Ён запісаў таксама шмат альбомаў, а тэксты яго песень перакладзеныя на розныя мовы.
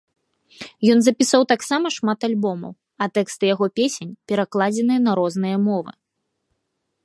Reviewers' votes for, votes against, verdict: 2, 0, accepted